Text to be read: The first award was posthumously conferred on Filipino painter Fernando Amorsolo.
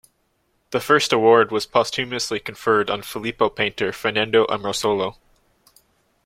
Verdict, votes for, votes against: rejected, 1, 2